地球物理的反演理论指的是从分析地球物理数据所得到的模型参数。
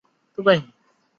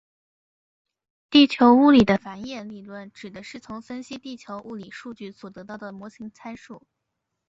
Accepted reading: second